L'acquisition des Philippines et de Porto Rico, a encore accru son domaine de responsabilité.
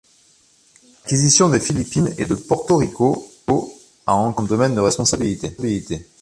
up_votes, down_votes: 0, 2